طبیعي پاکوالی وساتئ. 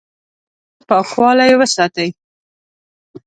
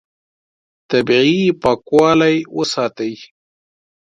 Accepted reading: second